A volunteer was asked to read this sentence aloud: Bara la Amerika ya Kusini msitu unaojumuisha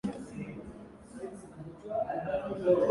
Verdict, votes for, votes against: rejected, 0, 2